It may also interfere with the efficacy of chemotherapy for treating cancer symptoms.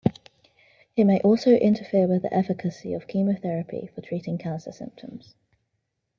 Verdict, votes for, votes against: rejected, 0, 2